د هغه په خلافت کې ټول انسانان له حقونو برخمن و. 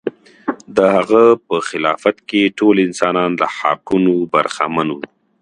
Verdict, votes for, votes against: accepted, 2, 1